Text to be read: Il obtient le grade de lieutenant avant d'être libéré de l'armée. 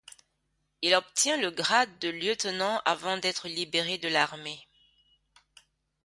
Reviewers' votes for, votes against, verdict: 2, 0, accepted